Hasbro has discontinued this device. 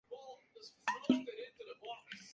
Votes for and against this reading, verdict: 0, 4, rejected